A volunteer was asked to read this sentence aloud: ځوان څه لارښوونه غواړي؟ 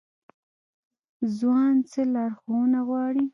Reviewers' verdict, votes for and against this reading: rejected, 1, 2